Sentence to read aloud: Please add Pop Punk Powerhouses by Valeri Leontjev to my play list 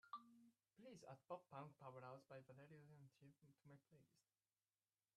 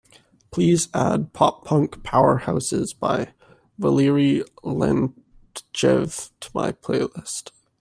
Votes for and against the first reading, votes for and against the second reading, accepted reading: 0, 2, 2, 1, second